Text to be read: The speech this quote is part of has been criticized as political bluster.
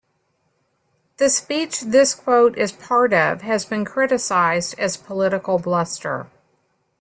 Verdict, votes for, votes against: accepted, 2, 1